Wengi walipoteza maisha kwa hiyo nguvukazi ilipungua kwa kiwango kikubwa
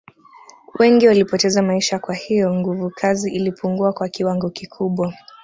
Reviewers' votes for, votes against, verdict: 2, 0, accepted